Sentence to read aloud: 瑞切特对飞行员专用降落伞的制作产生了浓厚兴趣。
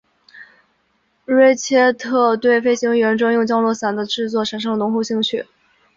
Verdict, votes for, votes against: accepted, 2, 1